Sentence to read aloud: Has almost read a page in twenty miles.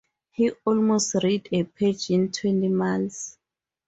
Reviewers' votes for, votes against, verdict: 0, 2, rejected